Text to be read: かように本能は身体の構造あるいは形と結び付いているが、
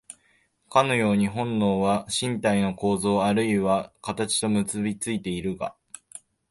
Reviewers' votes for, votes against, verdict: 1, 2, rejected